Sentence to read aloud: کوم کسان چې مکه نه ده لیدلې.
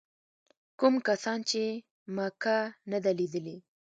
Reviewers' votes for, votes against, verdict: 1, 2, rejected